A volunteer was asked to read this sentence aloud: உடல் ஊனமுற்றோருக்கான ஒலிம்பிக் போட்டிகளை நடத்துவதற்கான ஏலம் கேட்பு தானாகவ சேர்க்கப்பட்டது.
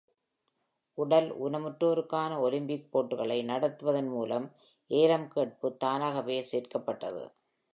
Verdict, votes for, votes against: rejected, 0, 2